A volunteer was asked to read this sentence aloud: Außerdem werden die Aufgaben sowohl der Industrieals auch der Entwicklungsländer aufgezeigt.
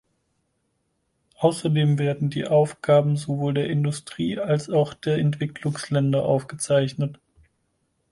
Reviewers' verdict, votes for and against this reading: rejected, 2, 4